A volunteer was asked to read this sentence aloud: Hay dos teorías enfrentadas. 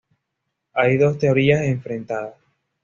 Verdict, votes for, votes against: accepted, 2, 0